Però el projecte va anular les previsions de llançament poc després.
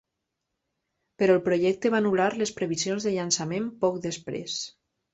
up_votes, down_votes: 2, 0